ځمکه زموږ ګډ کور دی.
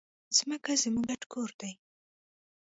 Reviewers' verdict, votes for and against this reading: rejected, 1, 2